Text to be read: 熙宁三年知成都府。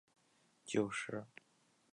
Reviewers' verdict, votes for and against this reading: rejected, 0, 5